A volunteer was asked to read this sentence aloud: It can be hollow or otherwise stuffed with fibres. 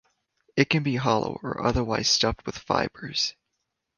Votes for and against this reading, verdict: 2, 0, accepted